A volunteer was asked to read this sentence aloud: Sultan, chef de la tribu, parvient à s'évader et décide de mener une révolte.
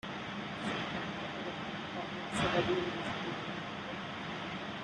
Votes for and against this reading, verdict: 0, 2, rejected